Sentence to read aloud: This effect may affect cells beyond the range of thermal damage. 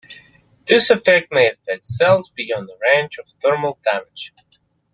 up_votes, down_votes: 2, 0